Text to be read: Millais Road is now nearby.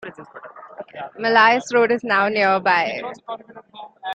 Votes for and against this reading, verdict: 2, 0, accepted